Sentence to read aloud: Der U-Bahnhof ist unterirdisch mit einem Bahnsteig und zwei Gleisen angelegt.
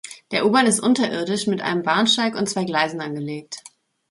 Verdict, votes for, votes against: rejected, 0, 2